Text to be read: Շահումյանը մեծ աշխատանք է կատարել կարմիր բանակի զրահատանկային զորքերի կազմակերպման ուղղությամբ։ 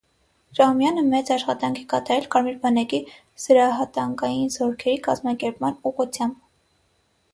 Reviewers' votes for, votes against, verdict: 3, 3, rejected